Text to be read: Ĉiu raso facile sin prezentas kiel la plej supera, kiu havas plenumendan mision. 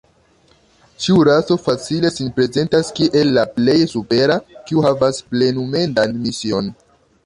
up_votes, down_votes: 0, 2